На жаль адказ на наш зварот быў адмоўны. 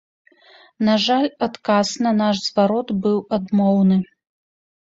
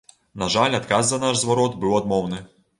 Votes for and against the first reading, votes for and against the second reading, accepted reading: 2, 0, 0, 2, first